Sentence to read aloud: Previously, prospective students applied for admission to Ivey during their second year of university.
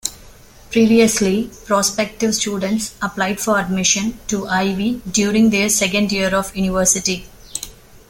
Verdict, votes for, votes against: accepted, 2, 0